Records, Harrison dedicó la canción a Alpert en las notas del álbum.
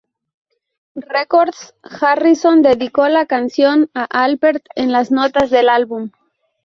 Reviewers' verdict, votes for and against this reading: rejected, 0, 2